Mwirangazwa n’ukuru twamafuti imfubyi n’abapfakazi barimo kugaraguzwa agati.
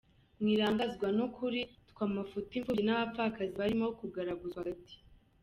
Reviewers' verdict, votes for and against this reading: rejected, 1, 2